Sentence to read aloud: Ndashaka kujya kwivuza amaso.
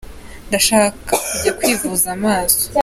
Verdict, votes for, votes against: accepted, 2, 0